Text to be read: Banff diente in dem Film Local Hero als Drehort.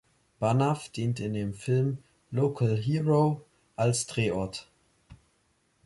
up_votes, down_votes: 0, 3